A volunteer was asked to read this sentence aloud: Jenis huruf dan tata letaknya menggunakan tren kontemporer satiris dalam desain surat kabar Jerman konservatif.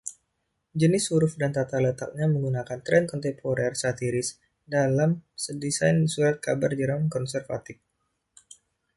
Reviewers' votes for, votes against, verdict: 2, 0, accepted